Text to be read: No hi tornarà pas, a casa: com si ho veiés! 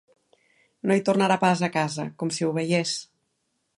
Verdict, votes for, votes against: accepted, 3, 0